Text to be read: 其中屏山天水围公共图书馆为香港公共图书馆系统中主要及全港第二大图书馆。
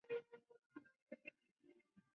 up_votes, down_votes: 1, 5